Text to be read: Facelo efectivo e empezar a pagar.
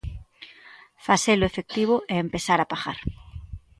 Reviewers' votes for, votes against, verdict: 2, 0, accepted